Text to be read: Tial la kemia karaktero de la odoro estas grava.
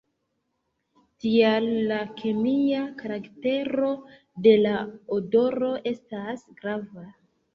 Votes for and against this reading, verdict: 2, 0, accepted